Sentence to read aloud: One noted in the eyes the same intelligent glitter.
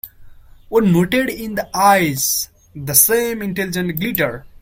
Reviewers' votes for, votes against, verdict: 0, 2, rejected